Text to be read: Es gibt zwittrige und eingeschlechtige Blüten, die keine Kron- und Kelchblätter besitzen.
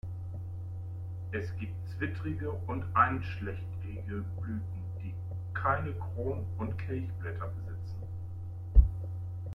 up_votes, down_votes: 0, 2